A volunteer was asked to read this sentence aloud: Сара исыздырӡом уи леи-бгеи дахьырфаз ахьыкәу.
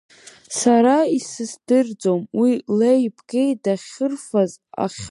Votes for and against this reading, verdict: 0, 3, rejected